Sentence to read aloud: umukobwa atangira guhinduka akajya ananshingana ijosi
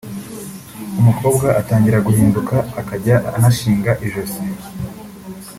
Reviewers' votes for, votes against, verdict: 0, 2, rejected